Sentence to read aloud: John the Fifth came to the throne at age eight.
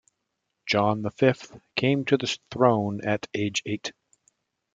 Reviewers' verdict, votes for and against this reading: accepted, 2, 0